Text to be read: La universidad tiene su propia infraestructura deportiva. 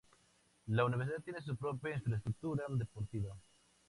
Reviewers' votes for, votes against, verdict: 0, 2, rejected